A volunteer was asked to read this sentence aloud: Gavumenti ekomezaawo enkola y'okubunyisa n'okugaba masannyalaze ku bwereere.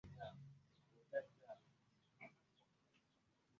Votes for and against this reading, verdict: 0, 2, rejected